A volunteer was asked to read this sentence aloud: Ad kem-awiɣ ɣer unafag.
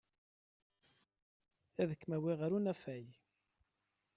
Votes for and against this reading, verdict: 2, 0, accepted